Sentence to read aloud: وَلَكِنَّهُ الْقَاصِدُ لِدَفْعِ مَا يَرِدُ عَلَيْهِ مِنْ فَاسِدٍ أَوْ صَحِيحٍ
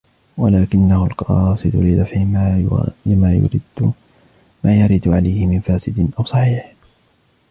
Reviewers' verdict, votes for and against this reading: rejected, 0, 2